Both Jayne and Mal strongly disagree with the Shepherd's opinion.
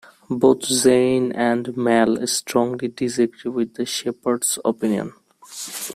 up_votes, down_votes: 0, 2